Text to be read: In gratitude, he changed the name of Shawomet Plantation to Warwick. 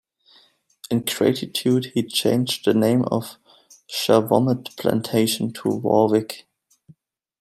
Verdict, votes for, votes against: rejected, 1, 2